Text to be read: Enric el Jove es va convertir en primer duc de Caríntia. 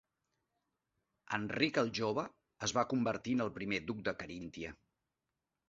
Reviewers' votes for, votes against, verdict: 1, 2, rejected